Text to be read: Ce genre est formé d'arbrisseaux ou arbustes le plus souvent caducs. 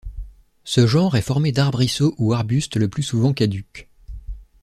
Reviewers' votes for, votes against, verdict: 2, 0, accepted